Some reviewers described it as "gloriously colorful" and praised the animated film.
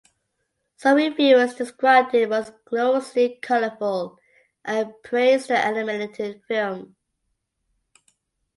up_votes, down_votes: 2, 1